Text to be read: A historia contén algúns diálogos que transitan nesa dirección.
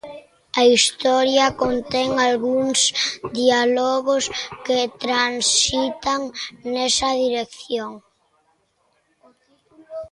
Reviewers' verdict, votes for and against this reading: rejected, 0, 2